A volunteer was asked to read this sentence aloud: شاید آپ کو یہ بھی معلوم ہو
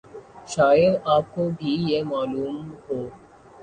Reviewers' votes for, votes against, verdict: 1, 2, rejected